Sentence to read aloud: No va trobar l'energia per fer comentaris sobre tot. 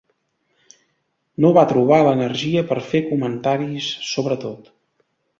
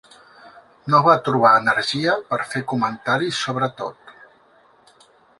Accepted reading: first